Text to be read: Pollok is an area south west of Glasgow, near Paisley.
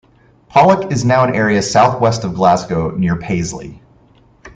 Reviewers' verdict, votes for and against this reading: rejected, 0, 2